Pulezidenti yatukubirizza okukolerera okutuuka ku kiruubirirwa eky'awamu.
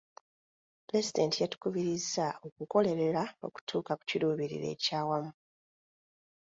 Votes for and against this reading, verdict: 2, 0, accepted